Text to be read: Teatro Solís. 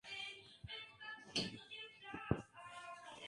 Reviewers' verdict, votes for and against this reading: rejected, 0, 2